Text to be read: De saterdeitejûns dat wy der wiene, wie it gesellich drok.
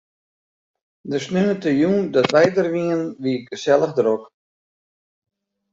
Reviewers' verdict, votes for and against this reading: rejected, 1, 2